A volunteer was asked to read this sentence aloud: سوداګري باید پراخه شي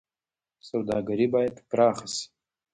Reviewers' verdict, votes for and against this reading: accepted, 2, 1